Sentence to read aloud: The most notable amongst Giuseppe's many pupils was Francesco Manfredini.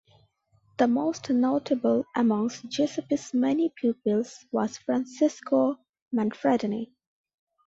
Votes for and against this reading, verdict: 2, 0, accepted